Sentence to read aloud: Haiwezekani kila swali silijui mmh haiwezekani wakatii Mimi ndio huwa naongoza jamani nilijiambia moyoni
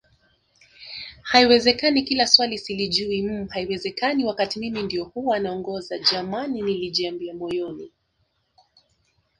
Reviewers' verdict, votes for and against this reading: rejected, 1, 2